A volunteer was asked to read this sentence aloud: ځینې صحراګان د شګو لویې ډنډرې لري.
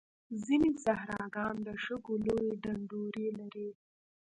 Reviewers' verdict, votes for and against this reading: rejected, 1, 2